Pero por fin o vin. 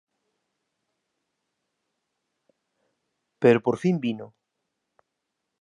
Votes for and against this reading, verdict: 0, 2, rejected